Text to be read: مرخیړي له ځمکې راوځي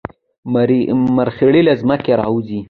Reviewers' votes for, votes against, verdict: 2, 0, accepted